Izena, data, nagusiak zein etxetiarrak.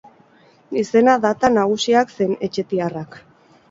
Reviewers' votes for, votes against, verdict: 6, 0, accepted